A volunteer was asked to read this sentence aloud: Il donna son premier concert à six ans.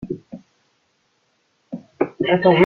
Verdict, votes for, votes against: rejected, 0, 2